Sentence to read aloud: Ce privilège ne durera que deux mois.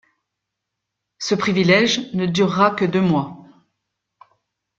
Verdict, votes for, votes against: accepted, 2, 0